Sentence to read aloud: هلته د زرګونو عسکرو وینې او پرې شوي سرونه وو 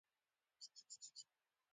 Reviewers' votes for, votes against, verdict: 0, 2, rejected